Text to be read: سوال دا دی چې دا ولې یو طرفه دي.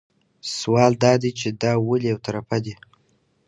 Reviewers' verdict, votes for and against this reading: accepted, 2, 0